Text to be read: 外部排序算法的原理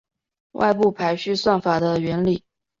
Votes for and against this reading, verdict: 4, 0, accepted